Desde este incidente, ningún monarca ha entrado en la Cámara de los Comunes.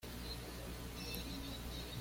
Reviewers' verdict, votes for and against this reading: rejected, 1, 2